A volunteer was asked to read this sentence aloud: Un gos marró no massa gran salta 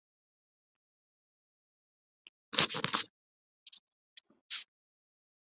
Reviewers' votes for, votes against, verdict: 0, 2, rejected